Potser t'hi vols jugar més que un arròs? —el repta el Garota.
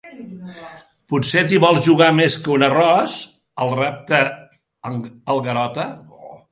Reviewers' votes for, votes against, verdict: 0, 2, rejected